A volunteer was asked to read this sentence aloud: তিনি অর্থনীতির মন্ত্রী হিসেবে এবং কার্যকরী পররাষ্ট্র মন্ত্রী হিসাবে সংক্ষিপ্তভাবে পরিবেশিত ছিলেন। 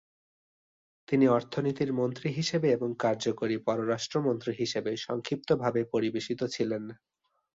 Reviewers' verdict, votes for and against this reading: accepted, 2, 0